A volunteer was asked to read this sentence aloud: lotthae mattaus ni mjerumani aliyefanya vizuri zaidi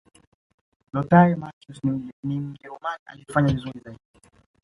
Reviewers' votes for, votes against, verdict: 1, 2, rejected